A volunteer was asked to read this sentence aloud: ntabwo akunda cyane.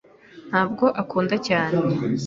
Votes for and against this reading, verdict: 2, 0, accepted